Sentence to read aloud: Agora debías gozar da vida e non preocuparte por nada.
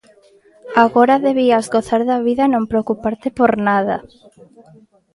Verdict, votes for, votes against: accepted, 2, 0